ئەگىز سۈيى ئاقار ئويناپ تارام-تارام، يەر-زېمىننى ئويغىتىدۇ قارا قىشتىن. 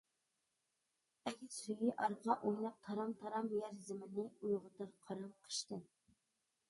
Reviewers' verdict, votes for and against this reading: rejected, 0, 2